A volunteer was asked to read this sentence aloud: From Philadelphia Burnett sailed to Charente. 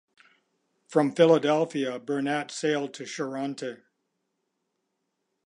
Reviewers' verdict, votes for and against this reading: accepted, 2, 0